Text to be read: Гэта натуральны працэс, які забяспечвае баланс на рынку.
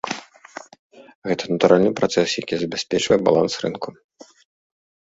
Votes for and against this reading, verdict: 1, 2, rejected